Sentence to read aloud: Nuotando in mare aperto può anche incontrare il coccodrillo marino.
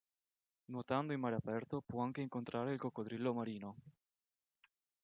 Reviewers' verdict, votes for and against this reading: accepted, 2, 0